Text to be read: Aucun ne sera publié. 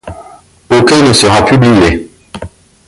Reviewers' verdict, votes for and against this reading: accepted, 2, 0